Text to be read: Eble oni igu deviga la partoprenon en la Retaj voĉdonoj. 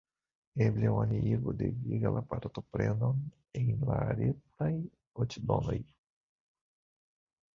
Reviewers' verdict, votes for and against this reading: rejected, 0, 2